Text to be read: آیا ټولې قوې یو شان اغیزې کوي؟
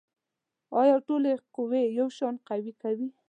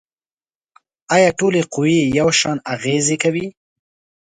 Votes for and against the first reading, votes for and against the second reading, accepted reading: 0, 2, 2, 0, second